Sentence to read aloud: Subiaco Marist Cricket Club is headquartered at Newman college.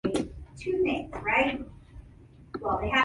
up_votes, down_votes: 0, 2